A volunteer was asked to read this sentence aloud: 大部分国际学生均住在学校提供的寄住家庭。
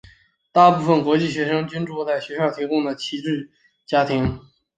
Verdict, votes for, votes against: rejected, 1, 4